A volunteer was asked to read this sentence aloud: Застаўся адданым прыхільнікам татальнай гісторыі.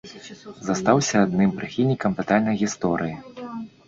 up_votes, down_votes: 0, 2